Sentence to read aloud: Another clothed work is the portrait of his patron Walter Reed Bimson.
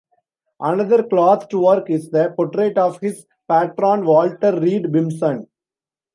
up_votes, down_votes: 1, 2